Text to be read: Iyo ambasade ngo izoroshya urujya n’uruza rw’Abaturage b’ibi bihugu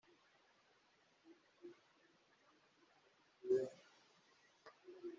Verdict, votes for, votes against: rejected, 0, 2